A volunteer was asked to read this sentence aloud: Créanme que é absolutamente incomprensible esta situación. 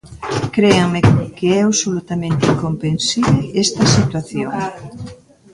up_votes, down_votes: 0, 2